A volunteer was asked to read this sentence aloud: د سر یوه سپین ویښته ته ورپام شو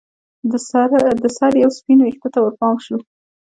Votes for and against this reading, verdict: 2, 0, accepted